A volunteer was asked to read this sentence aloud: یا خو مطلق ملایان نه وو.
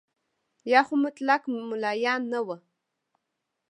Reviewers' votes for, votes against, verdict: 2, 1, accepted